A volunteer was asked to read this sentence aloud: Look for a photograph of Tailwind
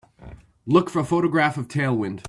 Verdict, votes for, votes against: accepted, 2, 0